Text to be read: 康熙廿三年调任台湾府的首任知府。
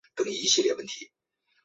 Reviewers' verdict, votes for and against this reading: accepted, 5, 0